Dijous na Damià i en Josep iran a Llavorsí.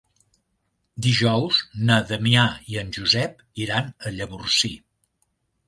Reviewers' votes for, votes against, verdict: 3, 0, accepted